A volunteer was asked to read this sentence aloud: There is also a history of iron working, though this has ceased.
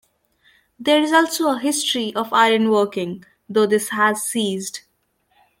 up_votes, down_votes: 2, 0